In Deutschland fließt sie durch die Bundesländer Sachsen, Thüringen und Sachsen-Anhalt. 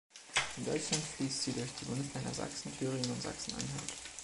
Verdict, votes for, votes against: rejected, 0, 2